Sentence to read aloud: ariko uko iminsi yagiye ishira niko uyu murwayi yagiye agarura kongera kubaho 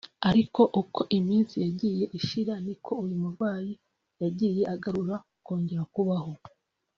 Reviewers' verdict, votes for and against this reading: accepted, 2, 0